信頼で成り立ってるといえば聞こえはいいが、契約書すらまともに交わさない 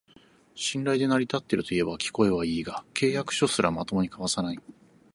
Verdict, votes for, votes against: accepted, 4, 0